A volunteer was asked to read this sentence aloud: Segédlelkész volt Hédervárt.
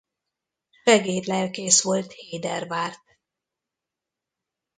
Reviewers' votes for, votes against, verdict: 1, 2, rejected